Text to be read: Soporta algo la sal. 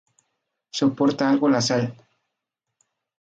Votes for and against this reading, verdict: 0, 2, rejected